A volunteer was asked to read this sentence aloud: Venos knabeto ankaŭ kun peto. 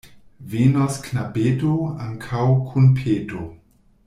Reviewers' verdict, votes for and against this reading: rejected, 1, 2